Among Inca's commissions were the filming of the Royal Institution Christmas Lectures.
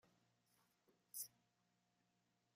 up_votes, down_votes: 0, 2